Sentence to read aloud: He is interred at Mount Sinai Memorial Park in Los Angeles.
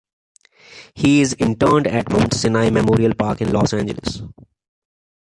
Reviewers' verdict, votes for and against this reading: accepted, 2, 1